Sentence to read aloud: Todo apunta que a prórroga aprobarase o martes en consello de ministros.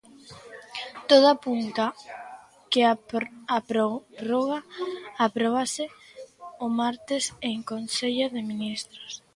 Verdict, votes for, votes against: rejected, 0, 2